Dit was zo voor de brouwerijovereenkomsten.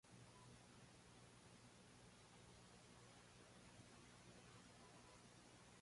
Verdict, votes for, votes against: rejected, 0, 2